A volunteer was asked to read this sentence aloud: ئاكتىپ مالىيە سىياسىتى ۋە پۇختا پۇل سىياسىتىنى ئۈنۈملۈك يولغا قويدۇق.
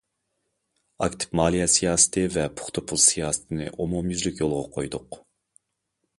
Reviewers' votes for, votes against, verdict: 1, 2, rejected